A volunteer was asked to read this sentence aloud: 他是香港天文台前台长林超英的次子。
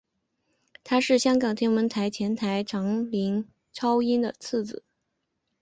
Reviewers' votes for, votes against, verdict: 5, 0, accepted